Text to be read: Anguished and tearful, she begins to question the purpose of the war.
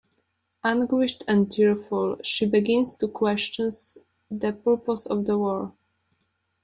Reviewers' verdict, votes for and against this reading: accepted, 3, 0